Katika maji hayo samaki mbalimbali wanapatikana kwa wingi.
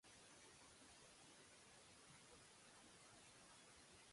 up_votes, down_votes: 0, 2